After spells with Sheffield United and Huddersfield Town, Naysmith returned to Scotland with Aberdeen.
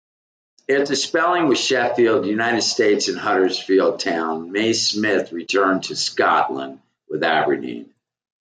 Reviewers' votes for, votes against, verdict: 0, 2, rejected